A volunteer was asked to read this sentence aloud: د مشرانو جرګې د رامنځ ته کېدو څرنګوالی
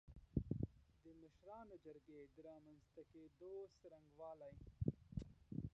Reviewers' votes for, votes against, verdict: 1, 2, rejected